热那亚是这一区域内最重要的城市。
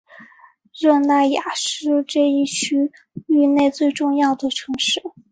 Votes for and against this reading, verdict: 5, 0, accepted